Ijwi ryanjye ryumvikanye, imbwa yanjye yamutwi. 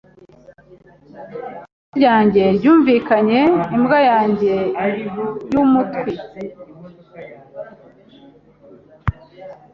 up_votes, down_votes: 1, 2